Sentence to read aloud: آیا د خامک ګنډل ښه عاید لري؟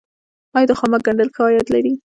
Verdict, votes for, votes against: rejected, 0, 2